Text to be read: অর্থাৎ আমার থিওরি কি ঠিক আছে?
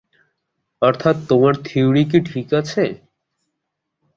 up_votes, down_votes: 0, 2